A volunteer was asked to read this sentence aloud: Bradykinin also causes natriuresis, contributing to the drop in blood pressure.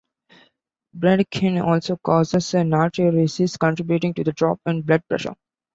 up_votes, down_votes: 0, 2